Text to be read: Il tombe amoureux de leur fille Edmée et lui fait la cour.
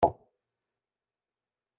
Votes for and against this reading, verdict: 0, 2, rejected